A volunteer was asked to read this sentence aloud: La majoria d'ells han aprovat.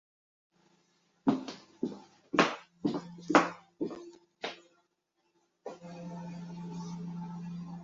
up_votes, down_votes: 1, 3